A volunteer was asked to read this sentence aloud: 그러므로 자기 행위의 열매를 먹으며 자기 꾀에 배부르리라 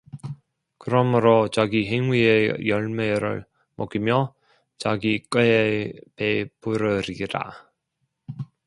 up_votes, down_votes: 2, 0